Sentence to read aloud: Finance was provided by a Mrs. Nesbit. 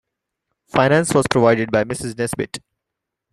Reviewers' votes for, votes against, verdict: 2, 1, accepted